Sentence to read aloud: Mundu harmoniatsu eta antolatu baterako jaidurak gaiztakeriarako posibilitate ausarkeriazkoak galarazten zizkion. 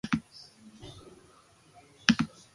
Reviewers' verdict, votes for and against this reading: rejected, 0, 2